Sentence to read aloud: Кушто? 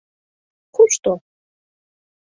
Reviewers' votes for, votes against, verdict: 2, 0, accepted